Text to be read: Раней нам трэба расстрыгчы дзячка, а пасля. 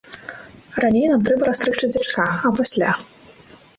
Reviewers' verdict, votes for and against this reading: accepted, 2, 0